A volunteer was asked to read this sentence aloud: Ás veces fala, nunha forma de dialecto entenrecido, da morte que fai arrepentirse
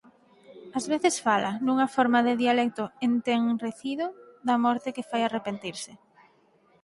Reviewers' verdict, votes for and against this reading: rejected, 0, 4